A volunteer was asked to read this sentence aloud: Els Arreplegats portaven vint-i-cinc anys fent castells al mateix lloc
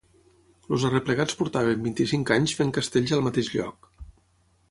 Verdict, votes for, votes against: rejected, 0, 3